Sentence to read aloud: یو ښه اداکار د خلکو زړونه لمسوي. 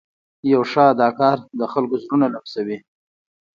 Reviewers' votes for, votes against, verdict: 2, 0, accepted